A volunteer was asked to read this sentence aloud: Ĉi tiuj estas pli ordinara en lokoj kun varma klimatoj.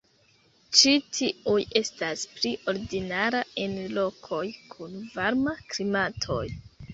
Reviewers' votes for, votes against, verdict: 2, 0, accepted